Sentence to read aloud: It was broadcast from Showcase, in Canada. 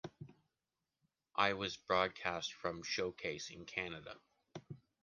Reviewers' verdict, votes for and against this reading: rejected, 1, 2